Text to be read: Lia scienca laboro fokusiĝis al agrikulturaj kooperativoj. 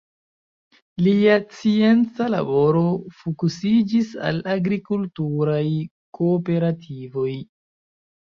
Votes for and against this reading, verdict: 0, 2, rejected